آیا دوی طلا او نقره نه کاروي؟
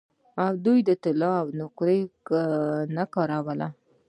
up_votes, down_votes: 0, 2